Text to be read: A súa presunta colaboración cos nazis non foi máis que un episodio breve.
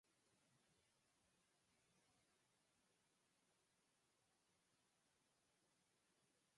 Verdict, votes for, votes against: rejected, 0, 4